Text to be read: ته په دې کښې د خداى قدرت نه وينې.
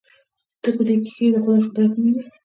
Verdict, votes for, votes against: rejected, 1, 2